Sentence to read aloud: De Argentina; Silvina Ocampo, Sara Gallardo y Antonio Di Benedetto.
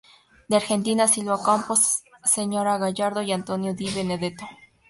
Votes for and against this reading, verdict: 2, 0, accepted